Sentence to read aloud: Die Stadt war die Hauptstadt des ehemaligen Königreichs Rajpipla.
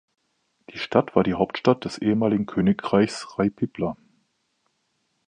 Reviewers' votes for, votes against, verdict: 2, 0, accepted